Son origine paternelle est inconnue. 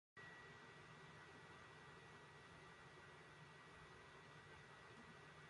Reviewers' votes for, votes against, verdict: 0, 2, rejected